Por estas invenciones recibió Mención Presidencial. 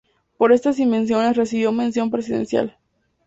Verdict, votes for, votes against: accepted, 2, 0